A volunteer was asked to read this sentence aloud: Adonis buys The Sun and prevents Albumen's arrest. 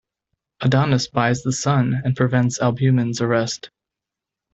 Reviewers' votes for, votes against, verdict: 2, 0, accepted